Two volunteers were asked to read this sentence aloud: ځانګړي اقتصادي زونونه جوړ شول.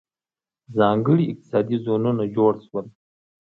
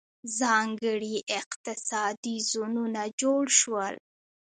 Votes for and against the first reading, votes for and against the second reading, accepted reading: 2, 0, 1, 2, first